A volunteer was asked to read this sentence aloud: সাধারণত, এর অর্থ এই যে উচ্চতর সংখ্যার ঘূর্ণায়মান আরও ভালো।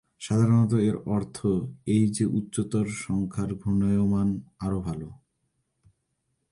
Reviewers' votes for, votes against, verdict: 2, 0, accepted